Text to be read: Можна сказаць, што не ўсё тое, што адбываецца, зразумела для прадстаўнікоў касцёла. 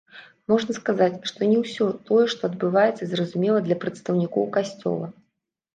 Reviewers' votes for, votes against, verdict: 2, 0, accepted